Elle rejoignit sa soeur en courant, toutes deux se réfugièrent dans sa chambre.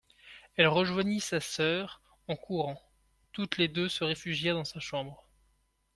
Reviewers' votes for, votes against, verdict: 1, 2, rejected